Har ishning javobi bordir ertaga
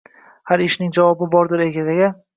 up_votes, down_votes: 0, 2